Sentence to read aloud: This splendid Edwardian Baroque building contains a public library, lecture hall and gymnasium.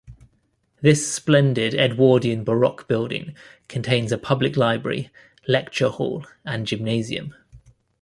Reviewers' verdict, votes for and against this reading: accepted, 2, 0